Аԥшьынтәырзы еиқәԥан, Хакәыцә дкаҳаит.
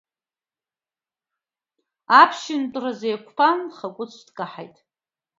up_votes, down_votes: 3, 0